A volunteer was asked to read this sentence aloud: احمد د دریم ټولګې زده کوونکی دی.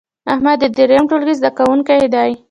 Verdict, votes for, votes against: accepted, 2, 1